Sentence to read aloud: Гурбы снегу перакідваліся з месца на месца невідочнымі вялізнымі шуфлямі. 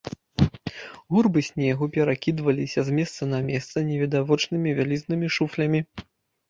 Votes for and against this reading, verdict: 0, 2, rejected